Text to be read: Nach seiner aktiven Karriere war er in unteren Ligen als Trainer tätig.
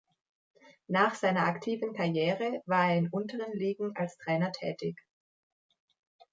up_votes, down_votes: 2, 0